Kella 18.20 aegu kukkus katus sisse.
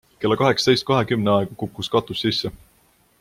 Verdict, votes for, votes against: rejected, 0, 2